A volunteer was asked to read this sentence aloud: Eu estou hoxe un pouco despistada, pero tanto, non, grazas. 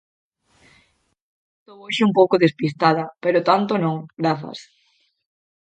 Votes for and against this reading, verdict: 0, 4, rejected